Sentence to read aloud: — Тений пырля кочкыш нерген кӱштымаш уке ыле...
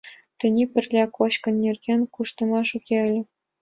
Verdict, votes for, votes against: accepted, 2, 1